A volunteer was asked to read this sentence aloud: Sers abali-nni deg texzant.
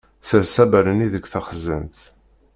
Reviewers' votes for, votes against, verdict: 0, 2, rejected